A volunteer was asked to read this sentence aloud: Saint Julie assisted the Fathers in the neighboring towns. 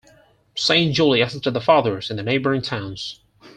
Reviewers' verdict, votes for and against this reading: accepted, 4, 2